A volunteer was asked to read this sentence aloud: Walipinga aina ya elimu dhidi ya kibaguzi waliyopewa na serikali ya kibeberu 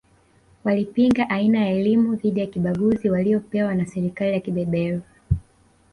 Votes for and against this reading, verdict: 1, 2, rejected